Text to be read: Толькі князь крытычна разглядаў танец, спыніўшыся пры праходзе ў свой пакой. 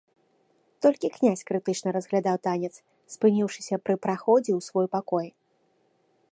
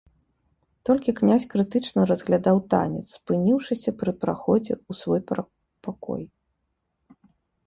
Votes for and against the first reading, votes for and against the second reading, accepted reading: 3, 0, 0, 2, first